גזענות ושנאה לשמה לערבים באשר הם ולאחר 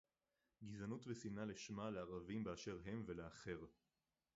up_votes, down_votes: 2, 2